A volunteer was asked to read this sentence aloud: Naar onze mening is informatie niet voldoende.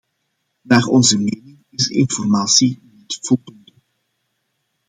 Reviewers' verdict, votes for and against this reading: rejected, 0, 2